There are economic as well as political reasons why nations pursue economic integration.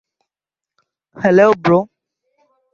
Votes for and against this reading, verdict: 0, 2, rejected